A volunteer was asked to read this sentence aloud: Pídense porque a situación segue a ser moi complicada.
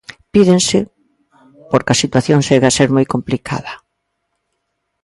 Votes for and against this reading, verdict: 1, 2, rejected